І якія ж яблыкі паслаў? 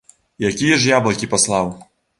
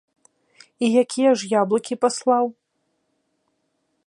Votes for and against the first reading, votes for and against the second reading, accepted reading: 0, 2, 2, 0, second